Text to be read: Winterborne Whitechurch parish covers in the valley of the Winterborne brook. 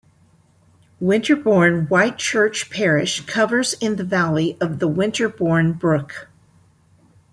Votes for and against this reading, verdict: 2, 0, accepted